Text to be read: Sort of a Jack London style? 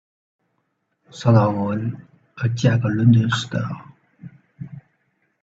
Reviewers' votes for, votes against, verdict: 0, 2, rejected